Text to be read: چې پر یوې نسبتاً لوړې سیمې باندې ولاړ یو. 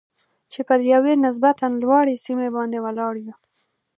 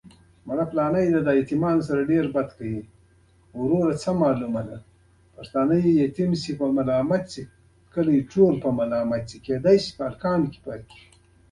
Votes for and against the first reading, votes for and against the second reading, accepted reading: 2, 0, 1, 2, first